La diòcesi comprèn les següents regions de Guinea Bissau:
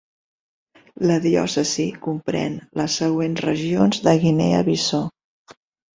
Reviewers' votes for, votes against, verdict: 2, 1, accepted